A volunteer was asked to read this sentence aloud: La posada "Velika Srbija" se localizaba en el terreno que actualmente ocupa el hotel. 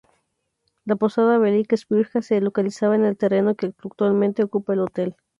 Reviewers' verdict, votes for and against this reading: rejected, 4, 6